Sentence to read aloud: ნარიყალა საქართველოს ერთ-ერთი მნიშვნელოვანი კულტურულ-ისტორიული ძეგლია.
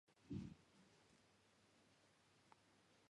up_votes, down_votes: 1, 2